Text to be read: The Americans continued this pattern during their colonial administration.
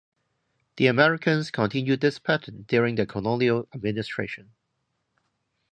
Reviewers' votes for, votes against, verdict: 0, 2, rejected